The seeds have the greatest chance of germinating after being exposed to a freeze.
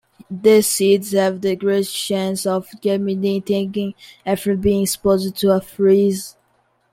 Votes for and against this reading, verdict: 2, 0, accepted